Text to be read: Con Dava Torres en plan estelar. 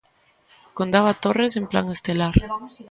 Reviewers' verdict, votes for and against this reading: rejected, 1, 2